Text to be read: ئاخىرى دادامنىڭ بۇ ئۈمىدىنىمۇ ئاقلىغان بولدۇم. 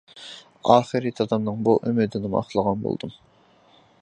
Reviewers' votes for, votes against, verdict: 2, 1, accepted